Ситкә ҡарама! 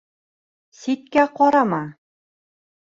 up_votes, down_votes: 2, 0